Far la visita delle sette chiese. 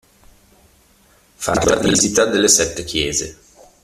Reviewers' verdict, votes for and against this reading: rejected, 0, 2